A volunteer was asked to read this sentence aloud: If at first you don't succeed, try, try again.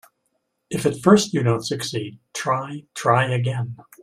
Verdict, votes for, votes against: accepted, 2, 0